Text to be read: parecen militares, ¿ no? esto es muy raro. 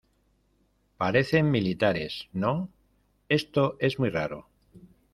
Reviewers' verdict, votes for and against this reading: accepted, 2, 0